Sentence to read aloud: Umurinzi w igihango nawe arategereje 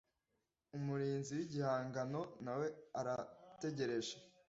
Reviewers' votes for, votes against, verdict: 2, 0, accepted